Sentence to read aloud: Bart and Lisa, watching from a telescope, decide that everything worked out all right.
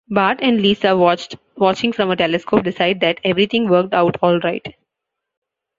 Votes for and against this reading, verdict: 0, 3, rejected